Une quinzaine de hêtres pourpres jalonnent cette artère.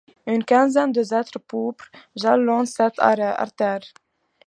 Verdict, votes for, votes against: accepted, 2, 1